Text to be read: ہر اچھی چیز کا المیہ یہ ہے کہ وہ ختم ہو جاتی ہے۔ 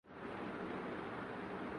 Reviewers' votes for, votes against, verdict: 0, 3, rejected